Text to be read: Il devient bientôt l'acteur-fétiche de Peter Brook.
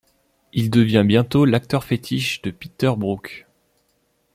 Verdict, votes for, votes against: accepted, 2, 0